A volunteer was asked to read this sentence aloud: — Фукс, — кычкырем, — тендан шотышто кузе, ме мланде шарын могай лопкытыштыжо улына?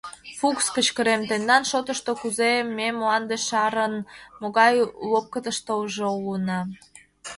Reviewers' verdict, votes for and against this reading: accepted, 2, 0